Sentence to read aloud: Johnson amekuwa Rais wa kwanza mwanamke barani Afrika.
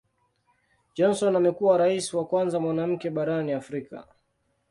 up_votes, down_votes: 2, 0